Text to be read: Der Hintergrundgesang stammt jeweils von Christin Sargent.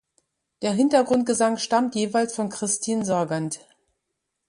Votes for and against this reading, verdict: 2, 0, accepted